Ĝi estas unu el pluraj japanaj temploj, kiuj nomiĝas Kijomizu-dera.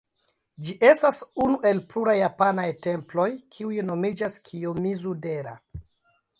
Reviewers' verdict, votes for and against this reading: rejected, 0, 3